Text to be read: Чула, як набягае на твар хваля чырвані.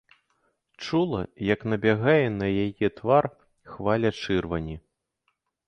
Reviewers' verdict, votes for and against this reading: rejected, 0, 2